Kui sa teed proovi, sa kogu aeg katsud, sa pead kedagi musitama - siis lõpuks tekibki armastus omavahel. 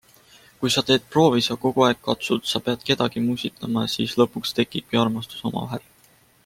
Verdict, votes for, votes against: accepted, 2, 1